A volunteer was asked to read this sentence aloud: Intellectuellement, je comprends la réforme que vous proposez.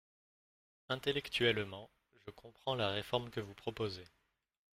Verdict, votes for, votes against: rejected, 1, 2